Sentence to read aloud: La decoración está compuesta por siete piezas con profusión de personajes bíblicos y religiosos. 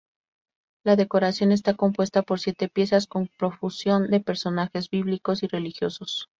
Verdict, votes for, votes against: accepted, 2, 0